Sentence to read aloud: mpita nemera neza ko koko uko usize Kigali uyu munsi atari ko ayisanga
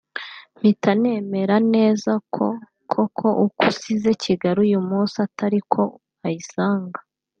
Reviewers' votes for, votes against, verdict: 2, 0, accepted